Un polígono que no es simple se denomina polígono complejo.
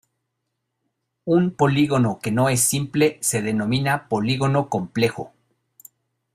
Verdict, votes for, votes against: accepted, 2, 0